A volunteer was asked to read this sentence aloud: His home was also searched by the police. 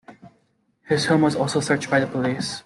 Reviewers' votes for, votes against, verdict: 2, 0, accepted